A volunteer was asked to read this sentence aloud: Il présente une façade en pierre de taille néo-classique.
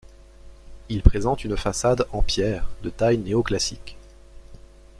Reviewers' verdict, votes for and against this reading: rejected, 1, 2